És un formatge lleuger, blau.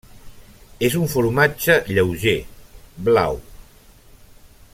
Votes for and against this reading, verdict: 1, 2, rejected